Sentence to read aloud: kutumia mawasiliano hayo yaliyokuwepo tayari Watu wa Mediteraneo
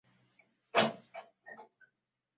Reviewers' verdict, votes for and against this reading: rejected, 0, 2